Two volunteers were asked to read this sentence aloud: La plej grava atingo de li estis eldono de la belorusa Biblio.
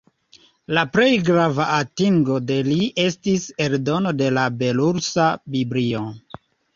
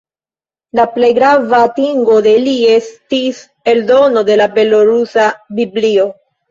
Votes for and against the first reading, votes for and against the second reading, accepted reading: 2, 0, 1, 2, first